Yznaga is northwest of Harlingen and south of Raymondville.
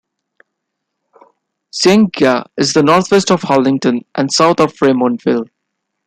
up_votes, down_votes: 2, 0